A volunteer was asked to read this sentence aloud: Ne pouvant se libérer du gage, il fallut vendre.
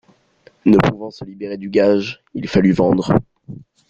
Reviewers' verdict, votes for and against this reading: accepted, 2, 0